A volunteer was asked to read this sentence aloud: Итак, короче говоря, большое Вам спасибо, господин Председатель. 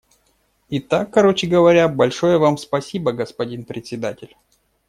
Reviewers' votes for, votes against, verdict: 2, 0, accepted